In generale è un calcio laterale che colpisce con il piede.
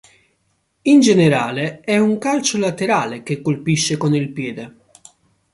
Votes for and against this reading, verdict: 2, 0, accepted